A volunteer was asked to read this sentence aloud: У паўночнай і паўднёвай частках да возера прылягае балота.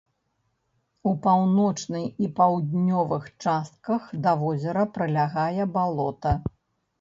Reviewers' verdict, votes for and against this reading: rejected, 0, 2